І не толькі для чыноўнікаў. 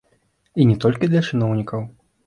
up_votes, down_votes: 2, 1